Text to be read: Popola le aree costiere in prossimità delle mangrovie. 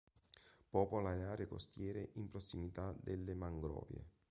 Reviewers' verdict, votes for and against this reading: accepted, 2, 0